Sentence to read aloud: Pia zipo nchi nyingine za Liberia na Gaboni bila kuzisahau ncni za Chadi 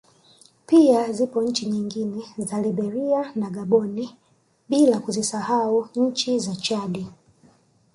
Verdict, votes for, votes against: accepted, 2, 0